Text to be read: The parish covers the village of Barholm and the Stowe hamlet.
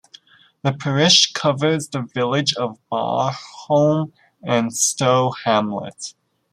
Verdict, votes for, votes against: rejected, 0, 2